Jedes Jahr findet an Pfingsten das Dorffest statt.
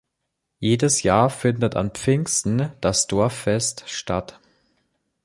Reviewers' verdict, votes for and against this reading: accepted, 2, 0